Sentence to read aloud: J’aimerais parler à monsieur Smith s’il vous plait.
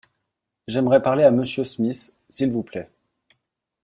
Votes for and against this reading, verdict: 2, 0, accepted